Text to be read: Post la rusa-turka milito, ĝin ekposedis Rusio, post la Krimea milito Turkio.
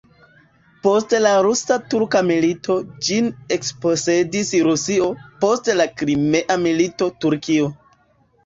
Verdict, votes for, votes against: accepted, 2, 1